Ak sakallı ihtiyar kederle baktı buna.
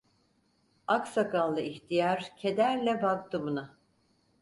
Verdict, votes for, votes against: accepted, 4, 0